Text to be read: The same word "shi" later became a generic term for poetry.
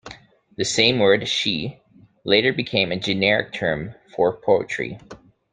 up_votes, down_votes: 2, 0